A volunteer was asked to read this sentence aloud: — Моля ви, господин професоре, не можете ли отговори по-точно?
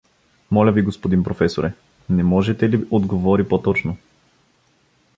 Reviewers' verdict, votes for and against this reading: accepted, 2, 0